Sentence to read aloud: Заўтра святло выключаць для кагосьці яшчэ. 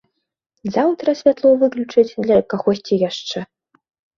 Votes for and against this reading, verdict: 2, 0, accepted